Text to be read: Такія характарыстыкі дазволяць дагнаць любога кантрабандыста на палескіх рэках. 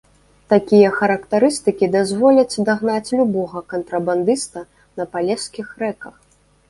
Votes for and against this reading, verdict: 1, 2, rejected